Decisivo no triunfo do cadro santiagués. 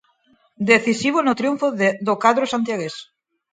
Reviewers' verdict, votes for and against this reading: rejected, 2, 4